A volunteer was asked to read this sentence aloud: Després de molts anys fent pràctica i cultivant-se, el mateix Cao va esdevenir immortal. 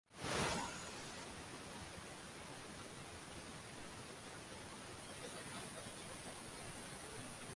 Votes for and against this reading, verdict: 0, 2, rejected